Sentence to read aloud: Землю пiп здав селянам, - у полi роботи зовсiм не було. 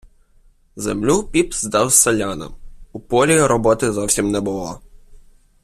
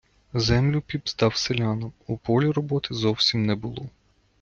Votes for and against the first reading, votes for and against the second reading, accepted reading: 0, 2, 2, 1, second